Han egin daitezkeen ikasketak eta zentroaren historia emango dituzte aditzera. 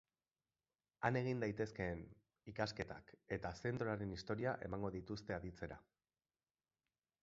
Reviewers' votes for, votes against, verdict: 3, 1, accepted